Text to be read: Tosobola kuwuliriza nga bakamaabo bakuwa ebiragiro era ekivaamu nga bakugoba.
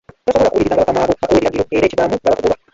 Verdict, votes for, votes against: rejected, 1, 2